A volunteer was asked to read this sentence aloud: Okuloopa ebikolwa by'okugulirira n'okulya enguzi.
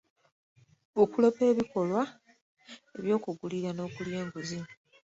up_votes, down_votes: 2, 0